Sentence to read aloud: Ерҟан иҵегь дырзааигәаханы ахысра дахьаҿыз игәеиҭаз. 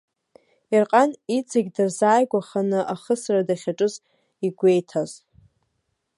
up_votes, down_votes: 2, 1